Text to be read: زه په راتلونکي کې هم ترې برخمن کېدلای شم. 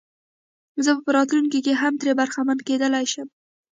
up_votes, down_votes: 2, 1